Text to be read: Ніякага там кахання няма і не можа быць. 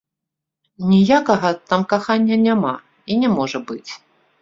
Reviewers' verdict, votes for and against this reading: rejected, 1, 2